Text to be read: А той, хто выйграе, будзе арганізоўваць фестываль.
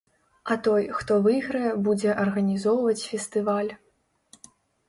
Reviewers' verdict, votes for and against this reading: accepted, 2, 0